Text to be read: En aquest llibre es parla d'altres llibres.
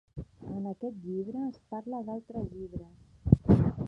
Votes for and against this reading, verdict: 1, 2, rejected